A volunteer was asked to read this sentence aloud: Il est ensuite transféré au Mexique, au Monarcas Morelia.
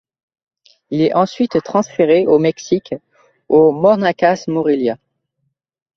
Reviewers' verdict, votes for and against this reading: accepted, 2, 0